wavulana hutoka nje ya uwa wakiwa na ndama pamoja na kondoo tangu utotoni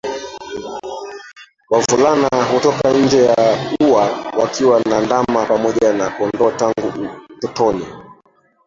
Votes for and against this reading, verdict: 0, 2, rejected